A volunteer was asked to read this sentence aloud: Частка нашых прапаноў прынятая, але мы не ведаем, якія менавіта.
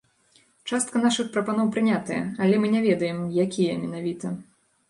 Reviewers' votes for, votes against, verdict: 2, 0, accepted